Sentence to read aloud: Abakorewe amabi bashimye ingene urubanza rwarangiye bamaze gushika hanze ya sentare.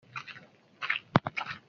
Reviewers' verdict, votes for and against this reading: rejected, 0, 2